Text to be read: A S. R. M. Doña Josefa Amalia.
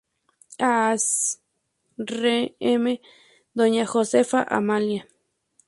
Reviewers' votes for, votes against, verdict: 0, 2, rejected